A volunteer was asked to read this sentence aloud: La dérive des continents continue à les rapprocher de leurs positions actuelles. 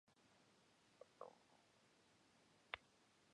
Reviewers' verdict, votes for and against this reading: rejected, 1, 2